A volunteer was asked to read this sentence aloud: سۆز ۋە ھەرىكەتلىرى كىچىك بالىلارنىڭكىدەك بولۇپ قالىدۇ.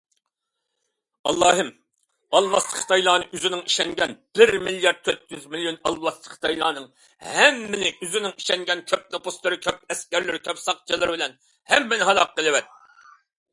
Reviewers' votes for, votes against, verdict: 0, 2, rejected